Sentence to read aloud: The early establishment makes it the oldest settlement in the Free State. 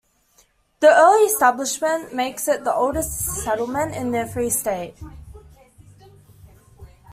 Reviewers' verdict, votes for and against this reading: accepted, 2, 0